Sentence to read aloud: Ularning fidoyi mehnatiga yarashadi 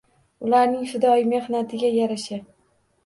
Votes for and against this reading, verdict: 1, 2, rejected